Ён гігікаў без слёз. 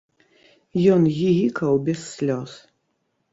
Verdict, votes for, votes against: rejected, 1, 2